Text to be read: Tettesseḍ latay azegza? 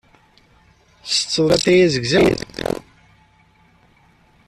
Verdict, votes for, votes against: rejected, 0, 2